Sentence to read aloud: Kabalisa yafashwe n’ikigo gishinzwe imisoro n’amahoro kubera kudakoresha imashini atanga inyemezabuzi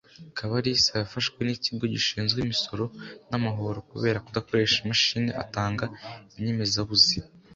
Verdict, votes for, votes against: accepted, 2, 0